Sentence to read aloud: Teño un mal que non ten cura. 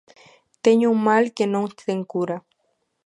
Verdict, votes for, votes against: accepted, 2, 0